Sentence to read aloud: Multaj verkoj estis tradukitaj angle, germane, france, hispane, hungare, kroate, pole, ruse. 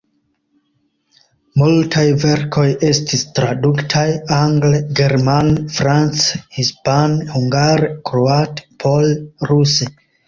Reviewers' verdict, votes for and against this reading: rejected, 1, 2